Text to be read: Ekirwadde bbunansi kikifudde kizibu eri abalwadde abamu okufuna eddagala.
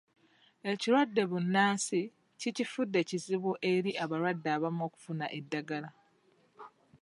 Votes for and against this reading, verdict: 1, 2, rejected